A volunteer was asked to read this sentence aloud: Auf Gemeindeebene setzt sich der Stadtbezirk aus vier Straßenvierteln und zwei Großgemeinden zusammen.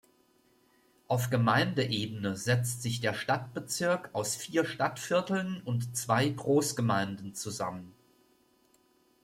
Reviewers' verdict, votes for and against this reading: rejected, 1, 2